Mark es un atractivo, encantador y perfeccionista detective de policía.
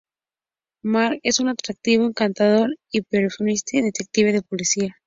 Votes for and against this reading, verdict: 0, 2, rejected